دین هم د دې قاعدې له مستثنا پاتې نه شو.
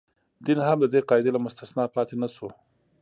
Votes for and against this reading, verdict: 2, 1, accepted